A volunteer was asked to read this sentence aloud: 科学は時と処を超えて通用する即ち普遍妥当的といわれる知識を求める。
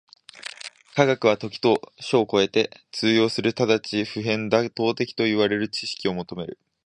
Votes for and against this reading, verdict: 10, 11, rejected